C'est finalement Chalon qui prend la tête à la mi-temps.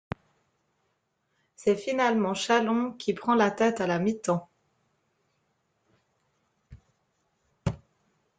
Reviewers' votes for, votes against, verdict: 1, 2, rejected